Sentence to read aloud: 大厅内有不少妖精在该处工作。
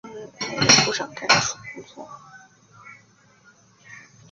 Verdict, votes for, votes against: rejected, 1, 2